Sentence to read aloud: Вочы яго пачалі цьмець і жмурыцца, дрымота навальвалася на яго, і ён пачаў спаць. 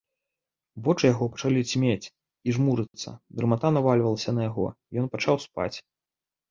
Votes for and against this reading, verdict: 0, 2, rejected